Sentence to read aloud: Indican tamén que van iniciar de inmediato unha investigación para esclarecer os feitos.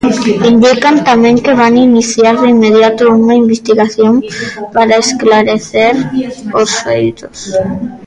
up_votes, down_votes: 1, 2